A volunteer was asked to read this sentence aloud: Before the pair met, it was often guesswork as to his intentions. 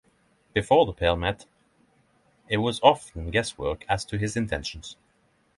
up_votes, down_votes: 3, 0